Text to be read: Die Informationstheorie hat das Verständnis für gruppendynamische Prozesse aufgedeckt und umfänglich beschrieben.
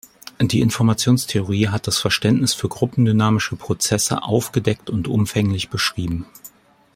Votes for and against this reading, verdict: 2, 0, accepted